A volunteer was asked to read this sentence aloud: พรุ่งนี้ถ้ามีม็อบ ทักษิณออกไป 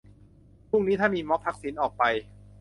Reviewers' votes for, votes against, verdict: 2, 0, accepted